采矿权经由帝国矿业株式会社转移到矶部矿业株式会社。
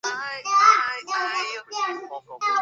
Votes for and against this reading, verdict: 0, 4, rejected